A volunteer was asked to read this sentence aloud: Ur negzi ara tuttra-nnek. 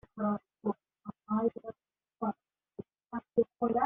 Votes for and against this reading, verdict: 0, 2, rejected